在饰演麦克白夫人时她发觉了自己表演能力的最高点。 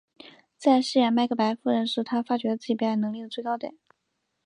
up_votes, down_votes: 2, 0